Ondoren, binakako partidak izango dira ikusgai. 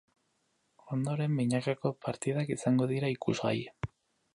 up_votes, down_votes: 4, 0